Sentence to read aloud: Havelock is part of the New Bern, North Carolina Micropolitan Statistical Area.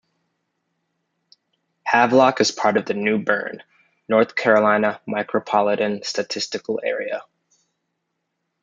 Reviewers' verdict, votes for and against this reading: accepted, 2, 0